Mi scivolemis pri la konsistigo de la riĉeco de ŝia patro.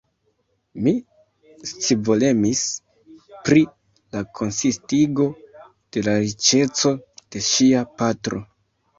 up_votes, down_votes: 1, 2